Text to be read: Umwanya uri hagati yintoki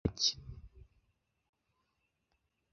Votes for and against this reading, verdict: 0, 2, rejected